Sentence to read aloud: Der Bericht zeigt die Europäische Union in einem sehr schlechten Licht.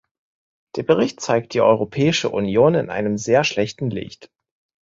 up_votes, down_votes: 2, 0